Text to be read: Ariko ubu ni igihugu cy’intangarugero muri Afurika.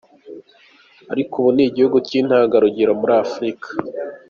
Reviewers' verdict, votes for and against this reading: accepted, 2, 1